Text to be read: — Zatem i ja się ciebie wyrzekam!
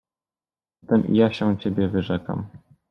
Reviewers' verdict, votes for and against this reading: rejected, 1, 2